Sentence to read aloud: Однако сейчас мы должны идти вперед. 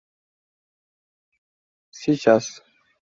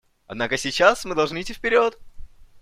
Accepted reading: second